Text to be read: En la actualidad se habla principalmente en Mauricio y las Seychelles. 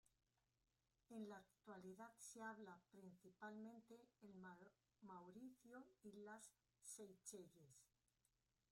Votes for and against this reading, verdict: 0, 3, rejected